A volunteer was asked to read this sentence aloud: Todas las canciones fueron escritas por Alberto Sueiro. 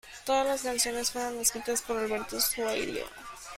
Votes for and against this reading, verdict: 1, 2, rejected